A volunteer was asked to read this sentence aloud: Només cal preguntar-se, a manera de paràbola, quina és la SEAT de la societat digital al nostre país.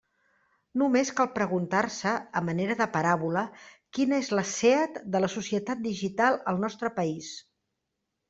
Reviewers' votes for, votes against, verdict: 2, 0, accepted